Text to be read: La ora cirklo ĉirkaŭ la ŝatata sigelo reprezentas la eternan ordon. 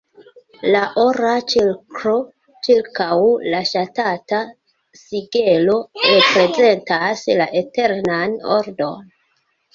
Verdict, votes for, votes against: rejected, 1, 2